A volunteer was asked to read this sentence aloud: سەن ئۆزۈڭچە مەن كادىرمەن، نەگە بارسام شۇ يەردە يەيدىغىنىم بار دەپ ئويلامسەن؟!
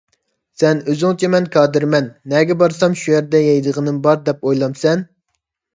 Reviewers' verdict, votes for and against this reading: accepted, 2, 0